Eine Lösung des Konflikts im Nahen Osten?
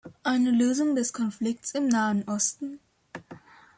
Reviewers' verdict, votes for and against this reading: accepted, 2, 0